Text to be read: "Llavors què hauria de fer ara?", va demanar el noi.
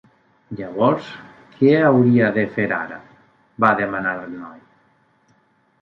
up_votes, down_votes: 3, 0